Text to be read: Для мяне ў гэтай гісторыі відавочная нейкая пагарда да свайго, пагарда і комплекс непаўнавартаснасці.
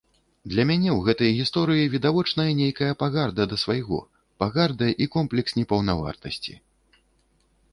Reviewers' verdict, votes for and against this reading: rejected, 0, 2